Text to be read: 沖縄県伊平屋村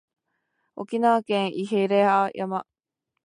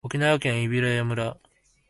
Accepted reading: second